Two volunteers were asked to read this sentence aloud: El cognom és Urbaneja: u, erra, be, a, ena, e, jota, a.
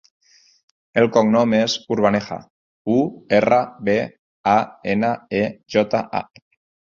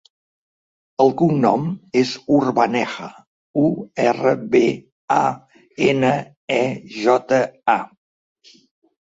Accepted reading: second